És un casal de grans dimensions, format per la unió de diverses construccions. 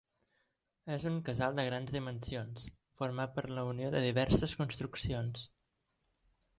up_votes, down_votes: 2, 1